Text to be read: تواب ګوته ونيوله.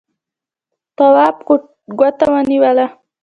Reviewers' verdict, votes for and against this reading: accepted, 2, 0